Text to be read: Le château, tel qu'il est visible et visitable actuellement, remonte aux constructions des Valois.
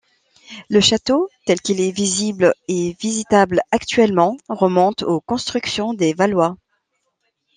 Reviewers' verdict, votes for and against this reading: accepted, 2, 0